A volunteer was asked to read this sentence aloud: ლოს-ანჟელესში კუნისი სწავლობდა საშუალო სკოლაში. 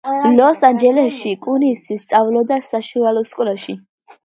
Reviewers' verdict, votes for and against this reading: rejected, 0, 2